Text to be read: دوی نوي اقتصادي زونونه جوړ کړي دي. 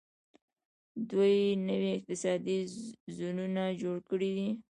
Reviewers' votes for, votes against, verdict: 2, 0, accepted